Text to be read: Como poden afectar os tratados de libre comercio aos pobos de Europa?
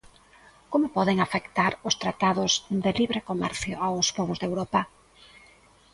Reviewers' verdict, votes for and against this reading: accepted, 2, 0